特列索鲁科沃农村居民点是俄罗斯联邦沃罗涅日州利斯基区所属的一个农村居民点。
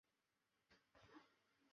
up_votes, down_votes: 0, 6